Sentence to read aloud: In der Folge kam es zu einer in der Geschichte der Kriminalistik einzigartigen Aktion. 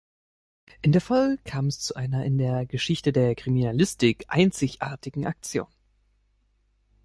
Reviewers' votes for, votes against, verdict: 1, 2, rejected